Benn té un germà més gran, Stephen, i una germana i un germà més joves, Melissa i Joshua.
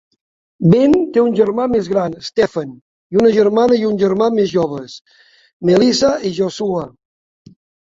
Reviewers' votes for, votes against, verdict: 1, 3, rejected